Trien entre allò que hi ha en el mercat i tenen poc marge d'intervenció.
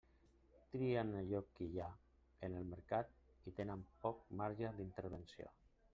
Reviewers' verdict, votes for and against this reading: rejected, 1, 2